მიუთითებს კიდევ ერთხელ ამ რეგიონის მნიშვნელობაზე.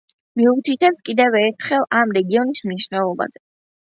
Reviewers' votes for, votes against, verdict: 2, 1, accepted